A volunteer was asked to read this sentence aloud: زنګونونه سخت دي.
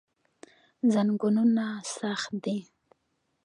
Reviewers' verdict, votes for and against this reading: accepted, 2, 1